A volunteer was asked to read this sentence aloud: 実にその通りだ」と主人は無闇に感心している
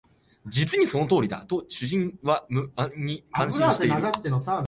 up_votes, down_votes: 0, 2